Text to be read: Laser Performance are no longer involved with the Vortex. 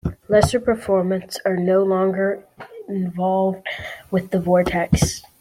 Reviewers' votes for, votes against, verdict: 2, 0, accepted